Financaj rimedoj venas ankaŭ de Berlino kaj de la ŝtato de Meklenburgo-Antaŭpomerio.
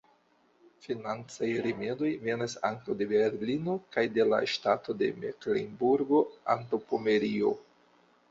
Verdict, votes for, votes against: accepted, 2, 0